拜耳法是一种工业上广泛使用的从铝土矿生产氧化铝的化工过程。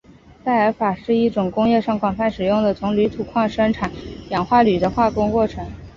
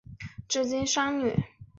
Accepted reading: first